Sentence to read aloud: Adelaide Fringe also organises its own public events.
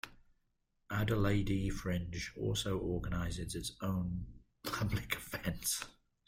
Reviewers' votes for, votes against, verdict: 0, 2, rejected